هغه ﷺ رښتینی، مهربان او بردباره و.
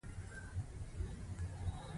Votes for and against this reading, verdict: 2, 0, accepted